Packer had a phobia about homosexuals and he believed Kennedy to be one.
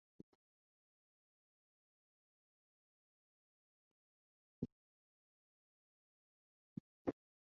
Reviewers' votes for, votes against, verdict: 0, 2, rejected